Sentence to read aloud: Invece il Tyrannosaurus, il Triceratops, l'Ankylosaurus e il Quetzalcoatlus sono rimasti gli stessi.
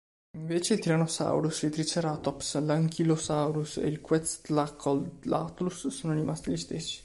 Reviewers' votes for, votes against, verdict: 2, 3, rejected